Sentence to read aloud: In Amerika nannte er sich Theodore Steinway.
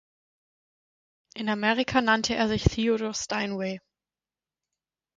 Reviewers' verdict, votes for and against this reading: accepted, 6, 0